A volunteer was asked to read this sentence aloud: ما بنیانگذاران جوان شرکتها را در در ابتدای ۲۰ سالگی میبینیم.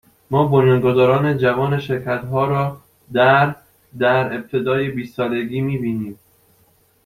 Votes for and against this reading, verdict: 0, 2, rejected